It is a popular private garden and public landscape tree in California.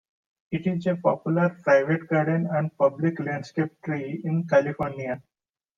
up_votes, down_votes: 1, 2